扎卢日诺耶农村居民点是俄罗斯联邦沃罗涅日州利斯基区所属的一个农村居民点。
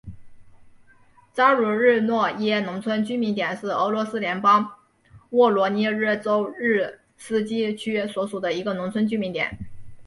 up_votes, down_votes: 2, 1